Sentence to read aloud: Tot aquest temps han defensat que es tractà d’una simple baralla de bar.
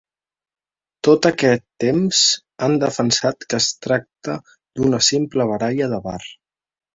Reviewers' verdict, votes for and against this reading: rejected, 0, 3